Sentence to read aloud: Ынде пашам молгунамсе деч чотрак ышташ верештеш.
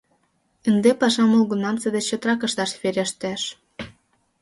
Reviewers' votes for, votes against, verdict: 5, 0, accepted